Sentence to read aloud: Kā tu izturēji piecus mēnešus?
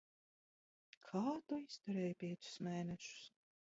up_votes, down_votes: 1, 2